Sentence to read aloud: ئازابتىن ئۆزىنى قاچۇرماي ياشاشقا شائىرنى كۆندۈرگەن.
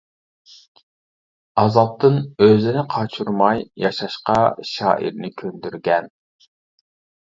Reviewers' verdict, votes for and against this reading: accepted, 2, 0